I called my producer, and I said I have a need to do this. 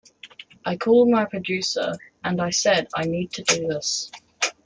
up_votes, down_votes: 0, 2